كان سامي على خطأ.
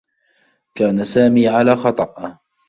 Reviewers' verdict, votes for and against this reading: accepted, 2, 0